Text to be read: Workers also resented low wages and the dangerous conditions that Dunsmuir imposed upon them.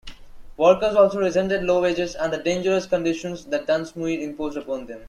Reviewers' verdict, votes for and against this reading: accepted, 2, 1